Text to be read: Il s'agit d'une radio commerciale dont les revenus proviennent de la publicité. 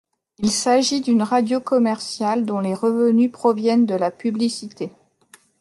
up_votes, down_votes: 2, 0